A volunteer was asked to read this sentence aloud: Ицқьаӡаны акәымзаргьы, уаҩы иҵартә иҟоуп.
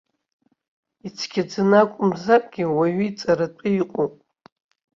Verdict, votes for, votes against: rejected, 1, 2